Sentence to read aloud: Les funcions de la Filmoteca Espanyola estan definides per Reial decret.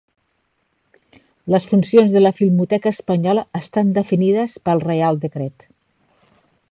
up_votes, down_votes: 2, 1